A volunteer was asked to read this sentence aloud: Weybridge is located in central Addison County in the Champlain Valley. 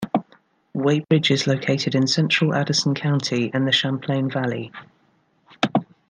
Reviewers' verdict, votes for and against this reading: accepted, 2, 0